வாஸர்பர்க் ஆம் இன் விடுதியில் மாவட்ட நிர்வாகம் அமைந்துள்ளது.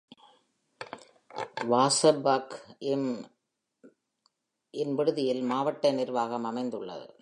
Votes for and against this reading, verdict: 0, 2, rejected